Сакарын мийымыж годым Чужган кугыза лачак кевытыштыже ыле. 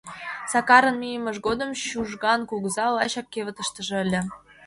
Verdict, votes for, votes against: accepted, 2, 0